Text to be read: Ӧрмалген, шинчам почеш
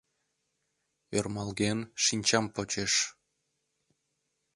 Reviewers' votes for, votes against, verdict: 2, 0, accepted